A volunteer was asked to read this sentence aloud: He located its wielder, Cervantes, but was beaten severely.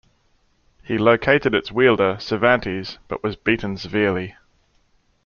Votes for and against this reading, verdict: 2, 0, accepted